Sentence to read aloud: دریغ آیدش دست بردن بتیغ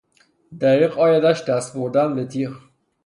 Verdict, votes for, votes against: accepted, 3, 0